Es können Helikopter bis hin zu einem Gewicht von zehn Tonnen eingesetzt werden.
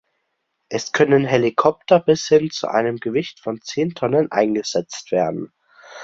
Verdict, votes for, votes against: accepted, 2, 0